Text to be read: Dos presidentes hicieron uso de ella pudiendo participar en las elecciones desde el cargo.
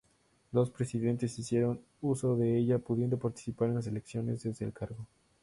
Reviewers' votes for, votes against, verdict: 2, 0, accepted